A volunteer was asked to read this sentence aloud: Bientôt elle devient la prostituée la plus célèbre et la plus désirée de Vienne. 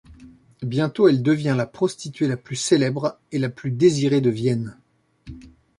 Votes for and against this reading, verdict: 2, 0, accepted